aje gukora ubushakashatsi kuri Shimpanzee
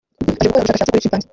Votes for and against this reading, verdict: 0, 2, rejected